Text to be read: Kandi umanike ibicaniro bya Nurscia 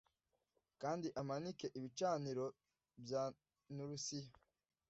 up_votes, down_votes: 1, 2